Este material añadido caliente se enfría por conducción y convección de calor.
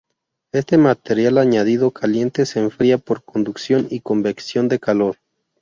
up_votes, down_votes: 0, 2